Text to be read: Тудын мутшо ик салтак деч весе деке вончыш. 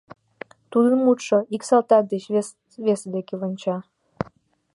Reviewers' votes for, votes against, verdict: 0, 2, rejected